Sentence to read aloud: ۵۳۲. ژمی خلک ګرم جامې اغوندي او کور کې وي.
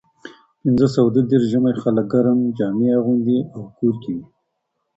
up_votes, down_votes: 0, 2